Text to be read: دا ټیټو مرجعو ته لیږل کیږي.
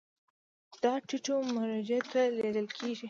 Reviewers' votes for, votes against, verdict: 2, 0, accepted